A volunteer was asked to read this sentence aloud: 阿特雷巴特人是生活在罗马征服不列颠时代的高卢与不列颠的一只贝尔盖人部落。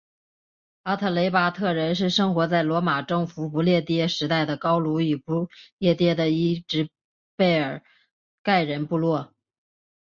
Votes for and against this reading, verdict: 6, 1, accepted